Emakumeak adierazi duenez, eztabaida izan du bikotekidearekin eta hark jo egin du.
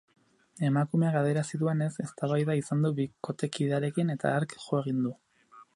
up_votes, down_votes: 2, 2